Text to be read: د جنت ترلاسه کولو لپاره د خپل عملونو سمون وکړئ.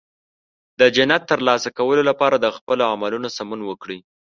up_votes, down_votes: 2, 0